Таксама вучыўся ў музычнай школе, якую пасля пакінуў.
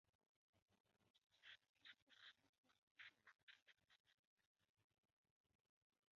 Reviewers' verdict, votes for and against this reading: rejected, 0, 3